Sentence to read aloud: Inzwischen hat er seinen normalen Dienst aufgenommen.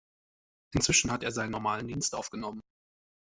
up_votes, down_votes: 2, 0